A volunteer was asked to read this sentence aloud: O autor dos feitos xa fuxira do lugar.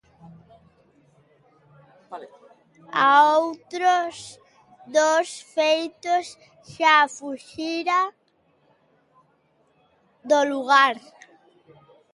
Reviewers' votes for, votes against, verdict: 0, 2, rejected